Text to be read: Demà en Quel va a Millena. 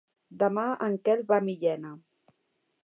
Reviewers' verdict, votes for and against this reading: accepted, 3, 0